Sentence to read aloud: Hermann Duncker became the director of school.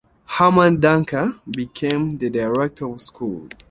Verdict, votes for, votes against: accepted, 2, 0